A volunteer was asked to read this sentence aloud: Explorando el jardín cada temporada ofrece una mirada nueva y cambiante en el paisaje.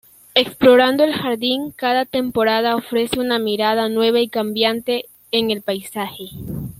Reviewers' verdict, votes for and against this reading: accepted, 2, 0